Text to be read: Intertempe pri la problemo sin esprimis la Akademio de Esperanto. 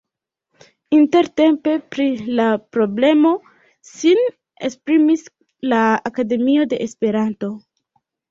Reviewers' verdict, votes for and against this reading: rejected, 0, 2